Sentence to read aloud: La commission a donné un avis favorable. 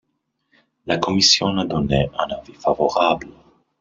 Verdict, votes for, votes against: rejected, 1, 2